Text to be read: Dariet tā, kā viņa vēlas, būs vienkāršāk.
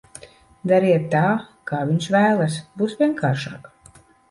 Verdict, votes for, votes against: rejected, 0, 2